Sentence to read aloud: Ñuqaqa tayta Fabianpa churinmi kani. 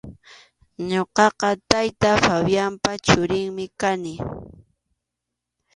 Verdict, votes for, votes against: accepted, 2, 0